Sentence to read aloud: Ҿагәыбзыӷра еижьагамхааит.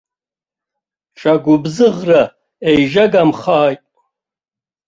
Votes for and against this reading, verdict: 2, 1, accepted